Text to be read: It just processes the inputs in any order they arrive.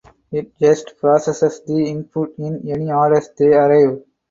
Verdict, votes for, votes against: rejected, 0, 4